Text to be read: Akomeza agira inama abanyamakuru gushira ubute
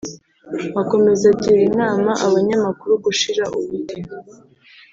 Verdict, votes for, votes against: accepted, 2, 0